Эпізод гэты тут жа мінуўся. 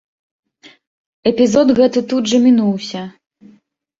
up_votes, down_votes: 2, 0